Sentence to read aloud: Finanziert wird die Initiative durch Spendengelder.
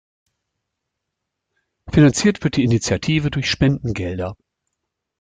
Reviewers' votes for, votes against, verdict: 2, 0, accepted